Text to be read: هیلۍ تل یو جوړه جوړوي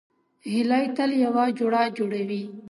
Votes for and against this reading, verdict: 2, 0, accepted